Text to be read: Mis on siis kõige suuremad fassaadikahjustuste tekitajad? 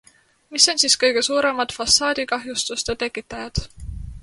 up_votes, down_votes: 2, 0